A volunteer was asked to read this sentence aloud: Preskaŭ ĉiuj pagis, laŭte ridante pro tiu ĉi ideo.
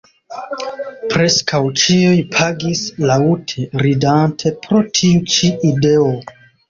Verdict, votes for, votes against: rejected, 1, 2